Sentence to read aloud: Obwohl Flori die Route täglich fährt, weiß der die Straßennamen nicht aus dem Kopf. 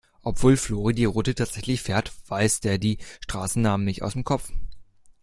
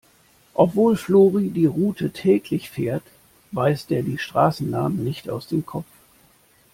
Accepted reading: second